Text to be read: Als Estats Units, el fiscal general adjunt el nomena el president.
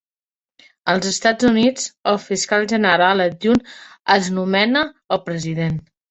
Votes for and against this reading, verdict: 0, 2, rejected